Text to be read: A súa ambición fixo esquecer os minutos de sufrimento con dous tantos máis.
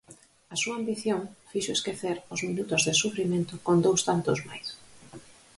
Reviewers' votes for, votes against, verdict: 4, 0, accepted